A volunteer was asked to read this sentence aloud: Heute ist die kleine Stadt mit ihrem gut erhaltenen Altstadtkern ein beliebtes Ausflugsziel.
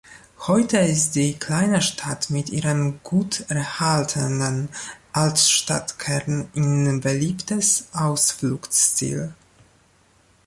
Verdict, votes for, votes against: accepted, 2, 0